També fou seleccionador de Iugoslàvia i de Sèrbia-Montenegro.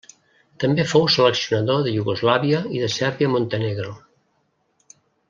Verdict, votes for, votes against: accepted, 2, 0